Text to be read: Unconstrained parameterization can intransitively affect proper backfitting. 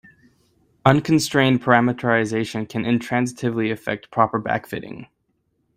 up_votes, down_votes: 2, 0